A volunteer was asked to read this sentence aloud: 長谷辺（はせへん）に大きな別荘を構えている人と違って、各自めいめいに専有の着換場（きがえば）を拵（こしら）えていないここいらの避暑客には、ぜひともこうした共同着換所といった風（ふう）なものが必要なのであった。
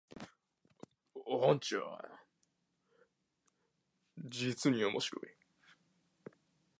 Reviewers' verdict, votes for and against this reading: rejected, 1, 19